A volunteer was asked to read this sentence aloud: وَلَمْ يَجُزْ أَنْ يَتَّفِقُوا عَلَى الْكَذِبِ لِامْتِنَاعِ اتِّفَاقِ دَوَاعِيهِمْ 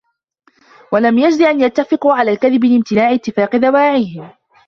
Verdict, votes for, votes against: rejected, 0, 2